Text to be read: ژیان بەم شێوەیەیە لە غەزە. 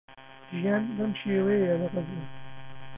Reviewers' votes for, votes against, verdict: 1, 2, rejected